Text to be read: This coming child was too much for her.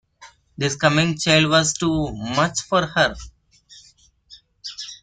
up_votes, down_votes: 2, 1